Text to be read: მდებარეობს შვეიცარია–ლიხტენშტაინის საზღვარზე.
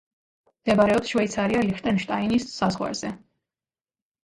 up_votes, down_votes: 2, 0